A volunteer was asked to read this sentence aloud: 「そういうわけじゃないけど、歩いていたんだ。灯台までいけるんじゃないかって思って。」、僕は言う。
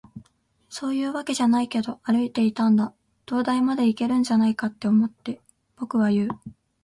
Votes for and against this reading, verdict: 3, 1, accepted